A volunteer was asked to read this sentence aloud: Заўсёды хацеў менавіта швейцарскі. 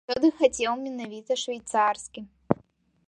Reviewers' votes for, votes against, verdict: 0, 2, rejected